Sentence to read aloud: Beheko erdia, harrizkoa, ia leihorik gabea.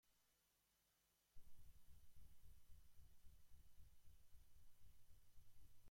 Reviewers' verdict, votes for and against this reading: rejected, 0, 2